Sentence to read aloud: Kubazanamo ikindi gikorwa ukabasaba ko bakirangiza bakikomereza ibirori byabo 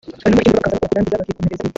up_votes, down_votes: 0, 3